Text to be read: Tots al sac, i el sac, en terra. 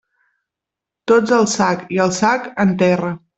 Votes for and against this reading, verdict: 2, 0, accepted